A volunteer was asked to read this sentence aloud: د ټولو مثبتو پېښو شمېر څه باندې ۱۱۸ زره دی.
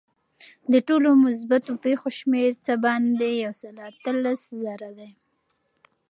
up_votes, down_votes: 0, 2